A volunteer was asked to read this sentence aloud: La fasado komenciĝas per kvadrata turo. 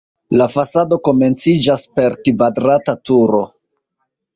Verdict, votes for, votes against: rejected, 1, 2